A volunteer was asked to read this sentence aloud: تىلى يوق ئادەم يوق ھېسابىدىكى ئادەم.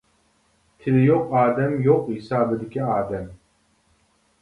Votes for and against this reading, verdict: 2, 0, accepted